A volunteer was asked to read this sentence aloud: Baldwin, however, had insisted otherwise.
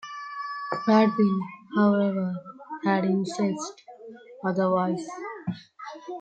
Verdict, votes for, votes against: rejected, 0, 2